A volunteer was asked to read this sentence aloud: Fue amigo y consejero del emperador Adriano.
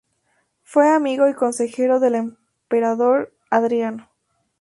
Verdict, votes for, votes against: accepted, 2, 0